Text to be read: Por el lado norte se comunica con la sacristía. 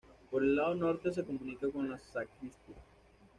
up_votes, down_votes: 2, 0